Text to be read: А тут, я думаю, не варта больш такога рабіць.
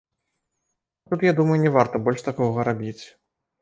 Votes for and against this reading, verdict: 2, 1, accepted